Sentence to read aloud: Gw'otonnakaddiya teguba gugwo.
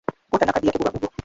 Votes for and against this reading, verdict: 0, 2, rejected